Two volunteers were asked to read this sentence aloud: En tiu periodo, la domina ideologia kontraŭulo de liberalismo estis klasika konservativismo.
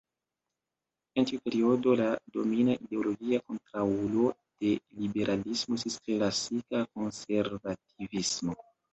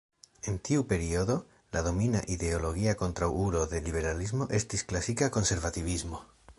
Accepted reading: second